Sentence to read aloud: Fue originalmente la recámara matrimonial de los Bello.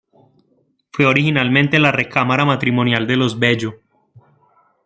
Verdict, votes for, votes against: accepted, 2, 0